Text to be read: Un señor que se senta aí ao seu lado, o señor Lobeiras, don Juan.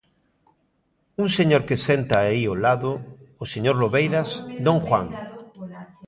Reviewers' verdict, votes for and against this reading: rejected, 0, 2